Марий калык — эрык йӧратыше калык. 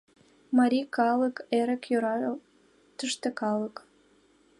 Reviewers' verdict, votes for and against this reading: rejected, 0, 2